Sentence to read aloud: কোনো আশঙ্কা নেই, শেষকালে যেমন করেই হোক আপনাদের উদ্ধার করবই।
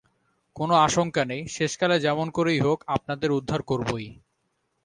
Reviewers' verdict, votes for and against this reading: rejected, 0, 2